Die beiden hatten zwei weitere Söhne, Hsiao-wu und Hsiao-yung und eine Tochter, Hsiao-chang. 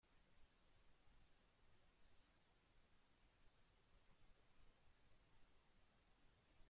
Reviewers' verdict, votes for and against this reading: rejected, 0, 2